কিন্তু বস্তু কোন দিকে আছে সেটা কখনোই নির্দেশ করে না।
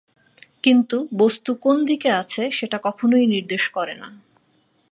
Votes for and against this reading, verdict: 2, 0, accepted